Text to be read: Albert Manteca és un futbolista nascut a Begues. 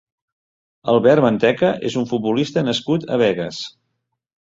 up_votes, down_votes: 3, 0